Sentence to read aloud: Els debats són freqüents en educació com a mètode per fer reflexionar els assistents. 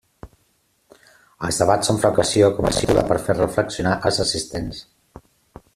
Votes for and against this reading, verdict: 0, 2, rejected